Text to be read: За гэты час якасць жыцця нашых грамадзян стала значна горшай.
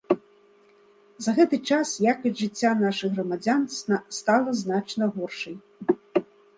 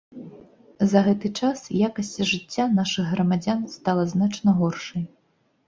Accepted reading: second